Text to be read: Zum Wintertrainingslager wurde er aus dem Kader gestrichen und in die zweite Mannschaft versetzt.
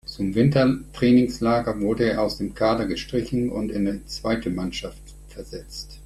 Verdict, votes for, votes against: rejected, 0, 2